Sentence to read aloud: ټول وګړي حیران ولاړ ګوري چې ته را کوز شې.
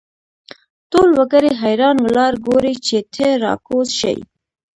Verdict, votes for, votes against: accepted, 2, 0